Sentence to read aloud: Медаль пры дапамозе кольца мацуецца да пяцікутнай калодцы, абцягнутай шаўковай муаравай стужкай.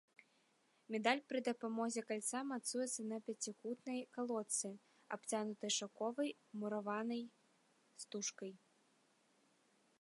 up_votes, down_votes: 0, 2